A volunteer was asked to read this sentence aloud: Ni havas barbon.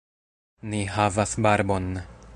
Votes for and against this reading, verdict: 0, 2, rejected